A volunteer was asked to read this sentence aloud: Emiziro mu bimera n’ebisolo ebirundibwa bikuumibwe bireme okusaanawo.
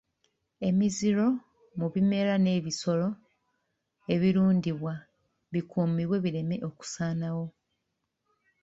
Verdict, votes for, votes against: accepted, 2, 1